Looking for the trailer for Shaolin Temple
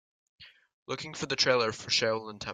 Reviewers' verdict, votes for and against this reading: accepted, 2, 1